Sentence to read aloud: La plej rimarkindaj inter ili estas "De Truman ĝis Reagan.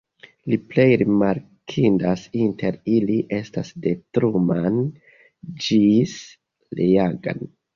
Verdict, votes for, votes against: rejected, 0, 2